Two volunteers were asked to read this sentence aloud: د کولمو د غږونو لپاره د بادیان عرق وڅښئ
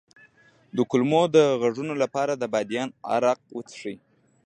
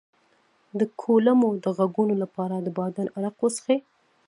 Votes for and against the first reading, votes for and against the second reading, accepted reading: 2, 0, 1, 2, first